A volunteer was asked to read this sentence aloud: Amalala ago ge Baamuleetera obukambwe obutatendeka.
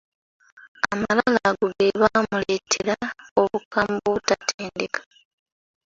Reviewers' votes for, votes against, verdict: 2, 1, accepted